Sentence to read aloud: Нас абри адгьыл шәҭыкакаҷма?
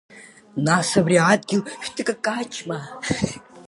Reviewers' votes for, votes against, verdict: 2, 0, accepted